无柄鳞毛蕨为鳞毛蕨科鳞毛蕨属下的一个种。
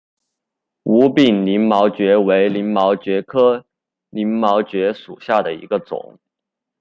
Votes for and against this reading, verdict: 2, 1, accepted